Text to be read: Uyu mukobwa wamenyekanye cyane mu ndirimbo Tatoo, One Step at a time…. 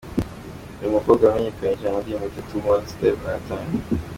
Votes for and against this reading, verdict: 2, 0, accepted